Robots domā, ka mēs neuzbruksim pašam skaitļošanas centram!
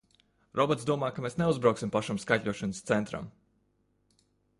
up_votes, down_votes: 1, 2